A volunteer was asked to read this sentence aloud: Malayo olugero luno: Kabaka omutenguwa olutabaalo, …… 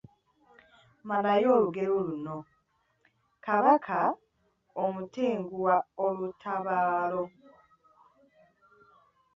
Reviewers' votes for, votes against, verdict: 1, 2, rejected